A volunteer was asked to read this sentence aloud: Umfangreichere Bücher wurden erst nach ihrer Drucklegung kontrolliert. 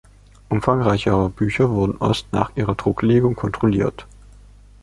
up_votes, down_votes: 2, 0